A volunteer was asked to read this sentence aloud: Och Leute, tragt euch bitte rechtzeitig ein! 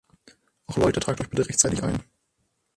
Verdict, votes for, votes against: rejected, 3, 6